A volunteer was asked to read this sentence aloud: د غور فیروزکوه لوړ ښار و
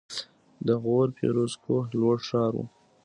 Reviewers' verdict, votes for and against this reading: accepted, 2, 0